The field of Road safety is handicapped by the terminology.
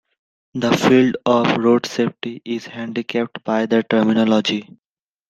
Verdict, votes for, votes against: accepted, 2, 0